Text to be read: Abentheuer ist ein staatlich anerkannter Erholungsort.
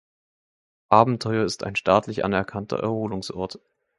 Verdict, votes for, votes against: accepted, 2, 0